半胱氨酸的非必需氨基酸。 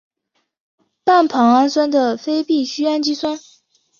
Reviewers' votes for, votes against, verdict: 4, 0, accepted